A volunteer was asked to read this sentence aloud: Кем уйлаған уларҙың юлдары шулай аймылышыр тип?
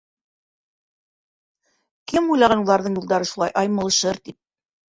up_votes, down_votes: 0, 2